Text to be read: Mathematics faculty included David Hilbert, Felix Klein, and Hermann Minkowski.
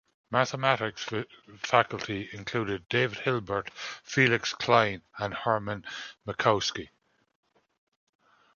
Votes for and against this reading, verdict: 1, 2, rejected